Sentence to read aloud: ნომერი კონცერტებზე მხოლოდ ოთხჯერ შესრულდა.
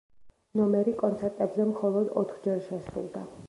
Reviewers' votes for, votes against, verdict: 1, 2, rejected